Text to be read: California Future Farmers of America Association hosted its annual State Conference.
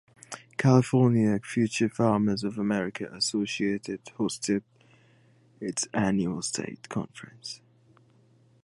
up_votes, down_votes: 0, 2